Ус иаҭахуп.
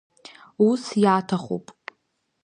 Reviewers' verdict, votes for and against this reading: accepted, 2, 0